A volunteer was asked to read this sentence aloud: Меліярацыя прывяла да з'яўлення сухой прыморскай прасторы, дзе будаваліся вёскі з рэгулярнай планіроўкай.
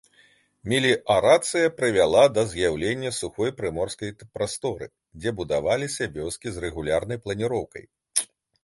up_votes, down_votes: 1, 2